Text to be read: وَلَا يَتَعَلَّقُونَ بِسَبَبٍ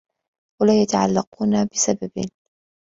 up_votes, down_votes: 2, 0